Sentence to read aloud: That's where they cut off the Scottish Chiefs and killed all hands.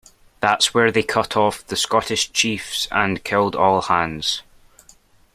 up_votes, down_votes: 2, 0